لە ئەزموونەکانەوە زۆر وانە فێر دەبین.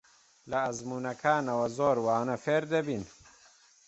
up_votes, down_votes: 2, 0